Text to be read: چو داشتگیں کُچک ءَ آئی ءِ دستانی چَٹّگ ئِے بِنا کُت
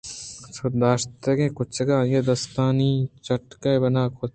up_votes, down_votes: 1, 2